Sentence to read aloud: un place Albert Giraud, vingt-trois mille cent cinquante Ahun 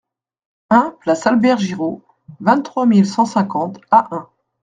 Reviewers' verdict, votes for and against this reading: accepted, 3, 0